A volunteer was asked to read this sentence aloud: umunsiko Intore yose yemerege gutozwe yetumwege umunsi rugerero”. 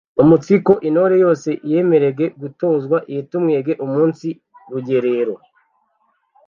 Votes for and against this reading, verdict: 1, 2, rejected